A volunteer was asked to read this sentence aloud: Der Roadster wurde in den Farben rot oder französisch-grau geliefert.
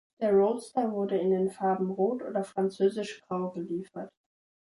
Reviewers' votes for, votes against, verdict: 2, 0, accepted